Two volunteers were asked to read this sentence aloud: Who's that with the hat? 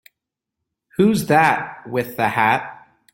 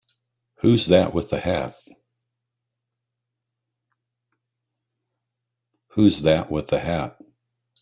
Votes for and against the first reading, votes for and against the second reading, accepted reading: 2, 0, 1, 3, first